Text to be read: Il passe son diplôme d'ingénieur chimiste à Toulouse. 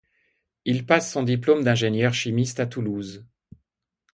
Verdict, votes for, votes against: accepted, 2, 0